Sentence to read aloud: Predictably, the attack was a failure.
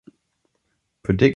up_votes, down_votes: 0, 2